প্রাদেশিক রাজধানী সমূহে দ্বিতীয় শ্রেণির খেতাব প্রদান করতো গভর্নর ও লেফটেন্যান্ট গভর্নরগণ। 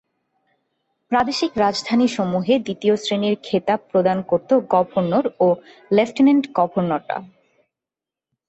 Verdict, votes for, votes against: rejected, 1, 2